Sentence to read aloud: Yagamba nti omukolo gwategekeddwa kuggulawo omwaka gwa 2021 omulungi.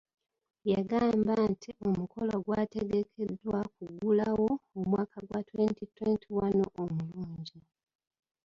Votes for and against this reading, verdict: 0, 2, rejected